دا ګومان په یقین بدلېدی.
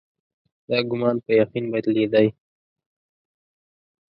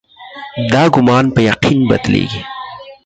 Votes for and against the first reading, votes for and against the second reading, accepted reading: 2, 0, 0, 4, first